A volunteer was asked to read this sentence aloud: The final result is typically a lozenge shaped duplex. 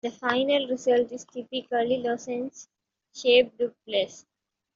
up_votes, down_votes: 3, 1